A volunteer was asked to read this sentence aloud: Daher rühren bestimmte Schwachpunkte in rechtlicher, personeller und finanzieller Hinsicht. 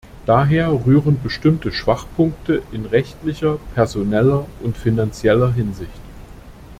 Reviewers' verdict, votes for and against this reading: accepted, 2, 0